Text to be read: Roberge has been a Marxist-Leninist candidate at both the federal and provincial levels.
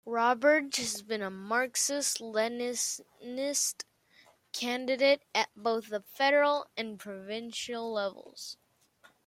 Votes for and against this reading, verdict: 0, 2, rejected